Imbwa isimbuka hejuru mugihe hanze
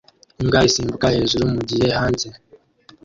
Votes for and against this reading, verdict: 0, 2, rejected